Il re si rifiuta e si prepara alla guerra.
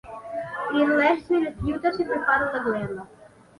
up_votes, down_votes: 1, 2